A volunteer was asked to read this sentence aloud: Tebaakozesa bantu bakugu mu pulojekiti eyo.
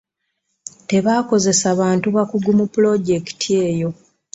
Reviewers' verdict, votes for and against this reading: accepted, 2, 0